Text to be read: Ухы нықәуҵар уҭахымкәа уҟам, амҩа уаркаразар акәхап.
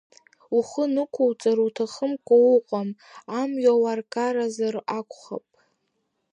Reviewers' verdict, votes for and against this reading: rejected, 1, 2